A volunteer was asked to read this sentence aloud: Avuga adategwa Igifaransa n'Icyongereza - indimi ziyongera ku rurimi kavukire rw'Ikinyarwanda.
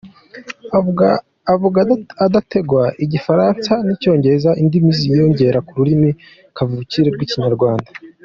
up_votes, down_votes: 2, 1